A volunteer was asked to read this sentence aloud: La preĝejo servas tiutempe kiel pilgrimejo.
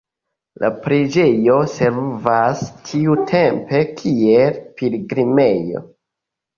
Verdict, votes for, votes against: rejected, 2, 3